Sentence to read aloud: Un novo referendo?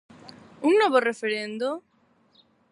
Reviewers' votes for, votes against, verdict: 4, 0, accepted